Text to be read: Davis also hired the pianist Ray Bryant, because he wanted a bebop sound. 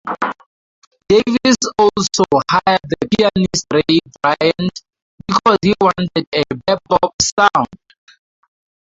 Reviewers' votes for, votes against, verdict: 0, 4, rejected